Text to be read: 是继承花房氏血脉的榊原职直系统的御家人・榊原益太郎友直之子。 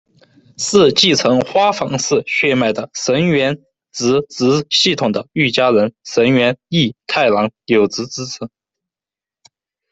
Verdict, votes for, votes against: rejected, 1, 2